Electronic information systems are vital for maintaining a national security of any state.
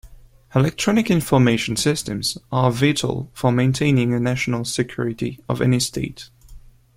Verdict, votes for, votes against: accepted, 2, 0